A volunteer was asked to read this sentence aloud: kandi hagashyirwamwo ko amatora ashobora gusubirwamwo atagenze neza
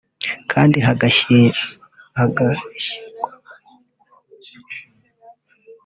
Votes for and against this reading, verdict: 0, 2, rejected